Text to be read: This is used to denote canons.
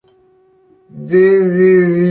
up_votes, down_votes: 0, 2